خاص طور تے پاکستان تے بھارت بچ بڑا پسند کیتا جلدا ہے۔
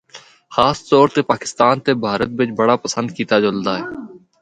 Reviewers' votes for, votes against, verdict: 2, 0, accepted